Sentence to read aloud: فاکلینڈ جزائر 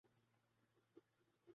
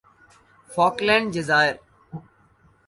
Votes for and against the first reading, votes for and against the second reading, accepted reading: 0, 2, 2, 0, second